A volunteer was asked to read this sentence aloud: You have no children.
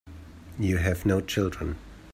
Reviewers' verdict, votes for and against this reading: accepted, 2, 1